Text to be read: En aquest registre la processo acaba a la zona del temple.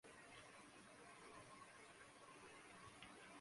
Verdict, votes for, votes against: rejected, 0, 2